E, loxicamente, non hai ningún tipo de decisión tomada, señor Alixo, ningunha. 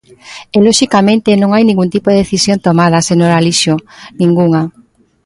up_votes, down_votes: 2, 0